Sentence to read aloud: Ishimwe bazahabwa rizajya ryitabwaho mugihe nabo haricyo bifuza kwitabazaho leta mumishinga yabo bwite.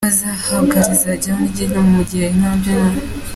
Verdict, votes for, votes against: rejected, 0, 2